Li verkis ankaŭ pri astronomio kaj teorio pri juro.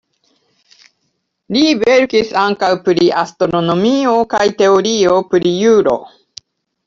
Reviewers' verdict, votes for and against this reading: accepted, 2, 0